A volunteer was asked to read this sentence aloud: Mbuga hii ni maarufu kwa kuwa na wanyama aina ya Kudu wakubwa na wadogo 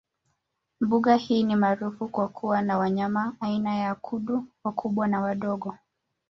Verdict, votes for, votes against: rejected, 0, 2